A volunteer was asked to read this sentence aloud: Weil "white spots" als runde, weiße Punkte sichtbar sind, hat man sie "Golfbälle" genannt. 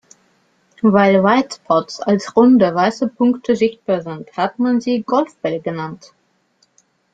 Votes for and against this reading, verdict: 1, 2, rejected